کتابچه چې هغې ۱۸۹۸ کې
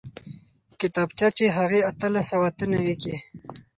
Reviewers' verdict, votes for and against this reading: rejected, 0, 2